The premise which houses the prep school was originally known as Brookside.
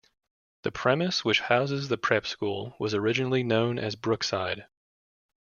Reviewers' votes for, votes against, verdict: 2, 0, accepted